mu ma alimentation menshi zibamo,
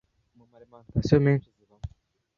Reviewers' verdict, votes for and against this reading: rejected, 1, 2